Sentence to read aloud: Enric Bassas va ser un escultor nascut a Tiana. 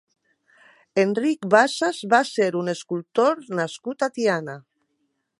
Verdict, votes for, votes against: accepted, 2, 0